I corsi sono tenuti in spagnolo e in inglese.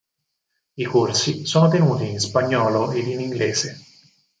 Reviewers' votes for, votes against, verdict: 4, 0, accepted